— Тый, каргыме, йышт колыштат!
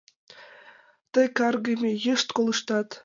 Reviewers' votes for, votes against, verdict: 2, 0, accepted